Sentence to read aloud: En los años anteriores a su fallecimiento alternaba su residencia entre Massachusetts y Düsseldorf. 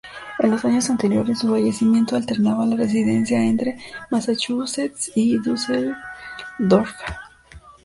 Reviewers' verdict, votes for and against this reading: rejected, 1, 2